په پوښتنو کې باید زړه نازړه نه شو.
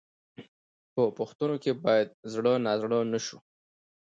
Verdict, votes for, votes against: accepted, 2, 0